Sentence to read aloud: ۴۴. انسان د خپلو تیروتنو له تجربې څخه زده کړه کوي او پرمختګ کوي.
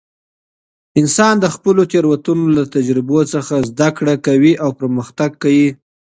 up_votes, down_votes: 0, 2